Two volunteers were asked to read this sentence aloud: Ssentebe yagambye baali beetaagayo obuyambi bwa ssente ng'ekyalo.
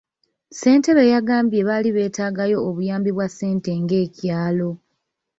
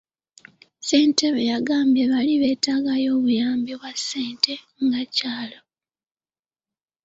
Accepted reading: first